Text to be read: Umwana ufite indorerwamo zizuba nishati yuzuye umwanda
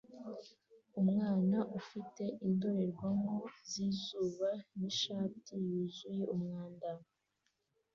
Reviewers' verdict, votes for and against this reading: accepted, 2, 0